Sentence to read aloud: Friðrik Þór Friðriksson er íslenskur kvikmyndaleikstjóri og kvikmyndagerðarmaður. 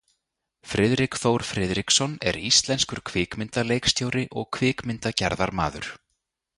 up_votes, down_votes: 2, 0